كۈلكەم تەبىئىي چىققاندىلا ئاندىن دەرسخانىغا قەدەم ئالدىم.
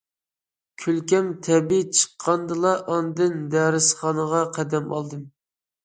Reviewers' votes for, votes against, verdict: 2, 0, accepted